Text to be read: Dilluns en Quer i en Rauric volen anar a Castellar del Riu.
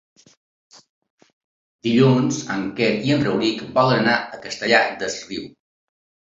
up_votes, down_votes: 0, 2